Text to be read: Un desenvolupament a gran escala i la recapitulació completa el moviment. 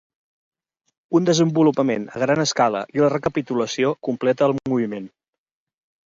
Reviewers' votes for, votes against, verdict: 4, 0, accepted